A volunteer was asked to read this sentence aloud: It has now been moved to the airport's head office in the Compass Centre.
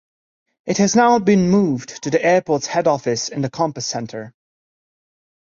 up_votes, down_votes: 1, 2